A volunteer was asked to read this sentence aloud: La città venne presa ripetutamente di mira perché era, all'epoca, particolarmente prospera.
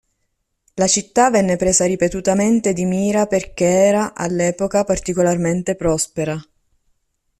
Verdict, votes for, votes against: rejected, 1, 2